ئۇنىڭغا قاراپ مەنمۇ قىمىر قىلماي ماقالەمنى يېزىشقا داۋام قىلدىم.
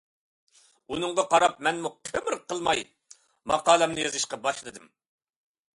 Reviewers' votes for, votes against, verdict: 2, 0, accepted